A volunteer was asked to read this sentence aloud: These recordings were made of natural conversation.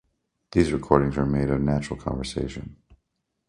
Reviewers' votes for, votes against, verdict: 2, 0, accepted